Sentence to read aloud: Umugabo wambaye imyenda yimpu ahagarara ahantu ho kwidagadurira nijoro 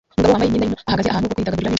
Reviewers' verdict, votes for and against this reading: rejected, 0, 2